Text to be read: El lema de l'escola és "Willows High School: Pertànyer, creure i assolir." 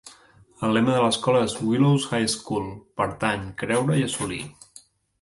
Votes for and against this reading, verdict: 0, 2, rejected